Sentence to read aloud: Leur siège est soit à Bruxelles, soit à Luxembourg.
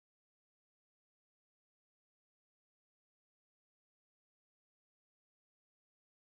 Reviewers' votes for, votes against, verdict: 0, 2, rejected